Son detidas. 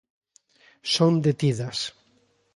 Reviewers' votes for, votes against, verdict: 2, 0, accepted